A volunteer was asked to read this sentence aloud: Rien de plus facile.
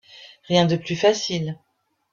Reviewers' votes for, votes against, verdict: 2, 0, accepted